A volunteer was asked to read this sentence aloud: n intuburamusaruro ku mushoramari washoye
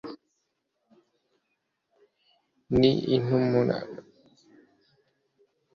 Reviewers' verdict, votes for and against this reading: rejected, 1, 2